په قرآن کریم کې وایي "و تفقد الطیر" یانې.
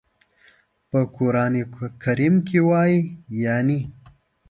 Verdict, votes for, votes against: rejected, 1, 2